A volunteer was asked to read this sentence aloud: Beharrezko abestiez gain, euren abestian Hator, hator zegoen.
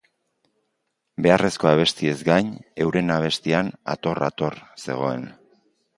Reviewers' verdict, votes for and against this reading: accepted, 2, 0